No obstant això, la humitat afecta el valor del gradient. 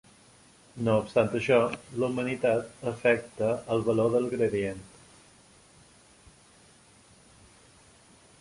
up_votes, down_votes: 0, 2